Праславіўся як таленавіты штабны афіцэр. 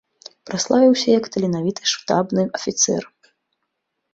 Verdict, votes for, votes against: rejected, 1, 2